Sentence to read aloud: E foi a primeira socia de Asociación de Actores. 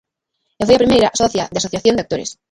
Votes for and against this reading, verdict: 2, 3, rejected